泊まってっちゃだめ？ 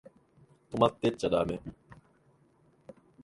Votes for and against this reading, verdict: 2, 0, accepted